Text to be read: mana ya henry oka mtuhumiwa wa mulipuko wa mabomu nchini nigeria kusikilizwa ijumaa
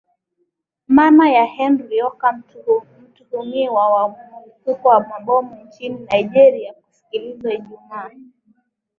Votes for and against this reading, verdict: 15, 4, accepted